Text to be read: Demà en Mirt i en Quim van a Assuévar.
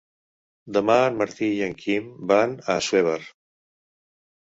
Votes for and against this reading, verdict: 1, 2, rejected